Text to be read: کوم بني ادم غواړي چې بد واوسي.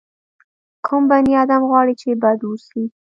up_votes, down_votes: 2, 0